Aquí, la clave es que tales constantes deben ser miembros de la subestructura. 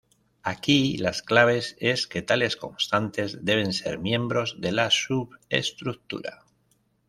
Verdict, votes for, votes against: rejected, 1, 2